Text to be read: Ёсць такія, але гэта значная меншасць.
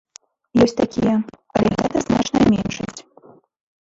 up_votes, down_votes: 1, 2